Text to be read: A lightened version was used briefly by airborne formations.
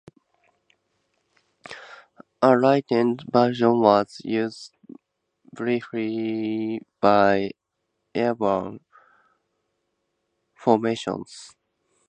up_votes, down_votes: 0, 2